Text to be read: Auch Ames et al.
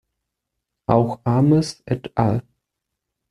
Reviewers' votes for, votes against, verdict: 1, 2, rejected